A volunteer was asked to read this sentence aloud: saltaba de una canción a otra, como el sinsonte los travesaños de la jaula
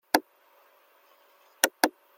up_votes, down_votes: 0, 2